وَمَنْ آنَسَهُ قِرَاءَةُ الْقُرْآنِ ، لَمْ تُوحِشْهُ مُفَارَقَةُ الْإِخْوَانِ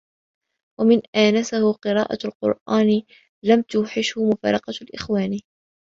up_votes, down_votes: 0, 2